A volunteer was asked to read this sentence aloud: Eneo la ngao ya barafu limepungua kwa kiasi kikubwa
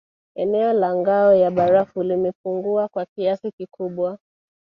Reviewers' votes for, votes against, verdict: 1, 2, rejected